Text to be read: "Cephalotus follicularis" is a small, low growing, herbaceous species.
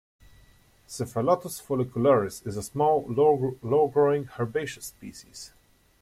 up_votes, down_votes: 0, 2